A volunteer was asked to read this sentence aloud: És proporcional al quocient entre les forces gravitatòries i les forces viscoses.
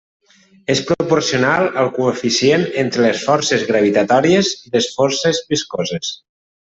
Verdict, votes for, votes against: rejected, 1, 2